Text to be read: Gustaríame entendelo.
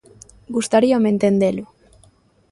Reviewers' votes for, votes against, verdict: 2, 0, accepted